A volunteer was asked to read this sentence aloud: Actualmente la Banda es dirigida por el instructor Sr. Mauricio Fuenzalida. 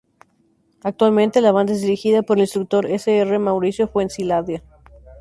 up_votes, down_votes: 0, 2